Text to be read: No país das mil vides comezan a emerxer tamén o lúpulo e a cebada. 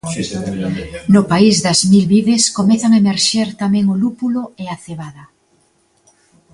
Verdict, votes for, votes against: rejected, 1, 2